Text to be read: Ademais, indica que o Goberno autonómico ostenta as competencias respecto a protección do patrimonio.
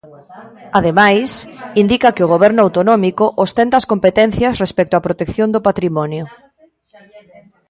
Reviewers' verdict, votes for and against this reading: rejected, 0, 2